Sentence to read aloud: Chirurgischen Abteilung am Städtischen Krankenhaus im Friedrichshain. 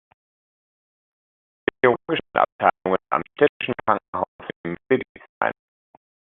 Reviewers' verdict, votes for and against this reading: rejected, 1, 2